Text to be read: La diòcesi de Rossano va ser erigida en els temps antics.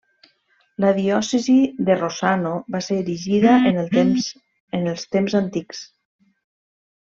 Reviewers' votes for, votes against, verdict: 0, 2, rejected